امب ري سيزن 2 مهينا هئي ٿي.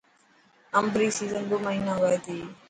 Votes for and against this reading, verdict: 0, 2, rejected